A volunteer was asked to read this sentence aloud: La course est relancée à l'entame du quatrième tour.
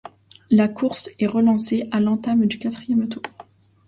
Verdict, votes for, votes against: accepted, 2, 1